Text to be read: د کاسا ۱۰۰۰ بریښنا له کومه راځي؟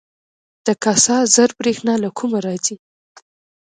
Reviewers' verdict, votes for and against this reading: rejected, 0, 2